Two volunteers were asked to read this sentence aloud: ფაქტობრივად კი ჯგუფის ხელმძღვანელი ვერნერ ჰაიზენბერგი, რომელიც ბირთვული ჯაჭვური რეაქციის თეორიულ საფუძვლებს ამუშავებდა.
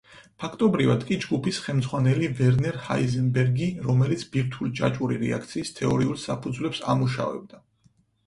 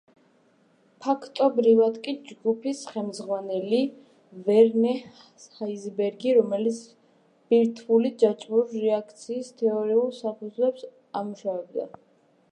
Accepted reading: first